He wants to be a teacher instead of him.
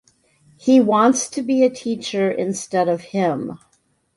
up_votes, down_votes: 2, 0